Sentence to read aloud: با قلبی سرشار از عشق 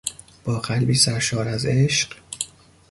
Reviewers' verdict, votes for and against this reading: accepted, 2, 0